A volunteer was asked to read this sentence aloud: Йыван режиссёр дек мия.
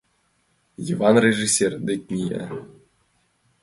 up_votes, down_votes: 2, 0